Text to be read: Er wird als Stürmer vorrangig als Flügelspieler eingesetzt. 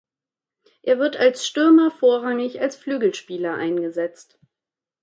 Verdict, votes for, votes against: accepted, 2, 0